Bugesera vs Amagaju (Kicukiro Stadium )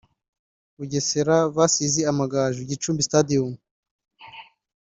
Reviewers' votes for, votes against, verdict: 1, 2, rejected